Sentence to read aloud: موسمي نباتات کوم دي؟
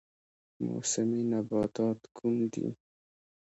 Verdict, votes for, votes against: accepted, 2, 1